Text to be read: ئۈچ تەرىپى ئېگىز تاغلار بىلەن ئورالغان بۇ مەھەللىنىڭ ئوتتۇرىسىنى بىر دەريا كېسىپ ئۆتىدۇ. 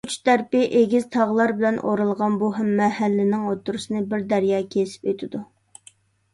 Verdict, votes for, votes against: accepted, 2, 0